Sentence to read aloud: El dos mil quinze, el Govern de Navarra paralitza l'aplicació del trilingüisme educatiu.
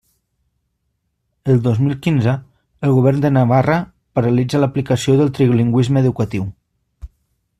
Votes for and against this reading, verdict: 3, 0, accepted